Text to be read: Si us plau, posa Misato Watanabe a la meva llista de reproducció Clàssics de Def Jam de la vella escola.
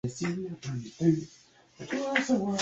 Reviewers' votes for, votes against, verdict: 0, 2, rejected